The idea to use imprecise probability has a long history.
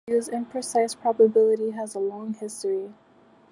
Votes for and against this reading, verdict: 0, 2, rejected